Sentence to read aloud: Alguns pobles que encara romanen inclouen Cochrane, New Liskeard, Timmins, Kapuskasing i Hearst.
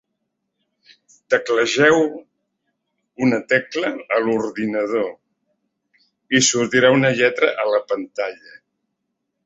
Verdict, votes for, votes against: rejected, 0, 2